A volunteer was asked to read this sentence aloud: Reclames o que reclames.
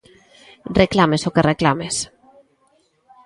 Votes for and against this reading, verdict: 2, 0, accepted